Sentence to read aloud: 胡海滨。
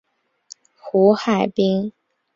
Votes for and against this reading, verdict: 5, 0, accepted